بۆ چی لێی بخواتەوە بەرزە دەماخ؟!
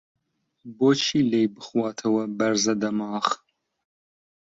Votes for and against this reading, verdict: 2, 0, accepted